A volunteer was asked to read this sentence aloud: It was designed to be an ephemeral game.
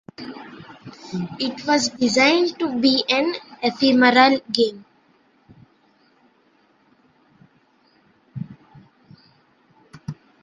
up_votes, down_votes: 1, 2